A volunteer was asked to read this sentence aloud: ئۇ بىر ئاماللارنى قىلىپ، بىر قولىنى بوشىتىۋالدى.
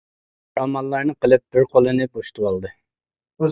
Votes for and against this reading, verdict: 0, 2, rejected